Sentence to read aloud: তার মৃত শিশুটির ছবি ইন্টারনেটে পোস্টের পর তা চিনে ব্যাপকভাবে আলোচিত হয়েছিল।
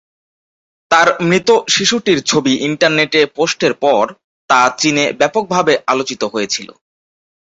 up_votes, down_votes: 6, 0